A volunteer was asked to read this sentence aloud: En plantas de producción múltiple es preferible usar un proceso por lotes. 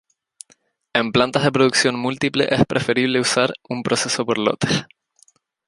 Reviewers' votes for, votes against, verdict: 0, 2, rejected